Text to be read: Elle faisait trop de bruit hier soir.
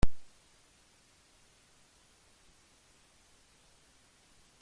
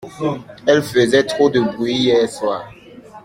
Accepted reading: second